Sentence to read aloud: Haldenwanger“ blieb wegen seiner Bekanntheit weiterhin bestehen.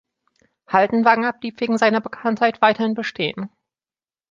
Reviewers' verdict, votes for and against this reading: accepted, 2, 0